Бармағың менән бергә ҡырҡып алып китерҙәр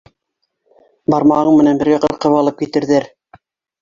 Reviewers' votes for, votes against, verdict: 2, 1, accepted